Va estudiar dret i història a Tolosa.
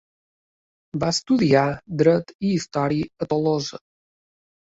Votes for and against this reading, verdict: 2, 0, accepted